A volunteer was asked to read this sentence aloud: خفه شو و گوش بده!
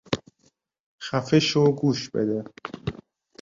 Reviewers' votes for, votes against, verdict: 1, 2, rejected